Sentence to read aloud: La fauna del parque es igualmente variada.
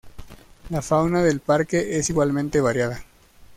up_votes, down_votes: 2, 0